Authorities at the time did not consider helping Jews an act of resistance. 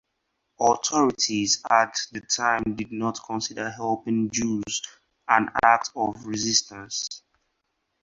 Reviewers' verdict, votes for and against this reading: rejected, 2, 2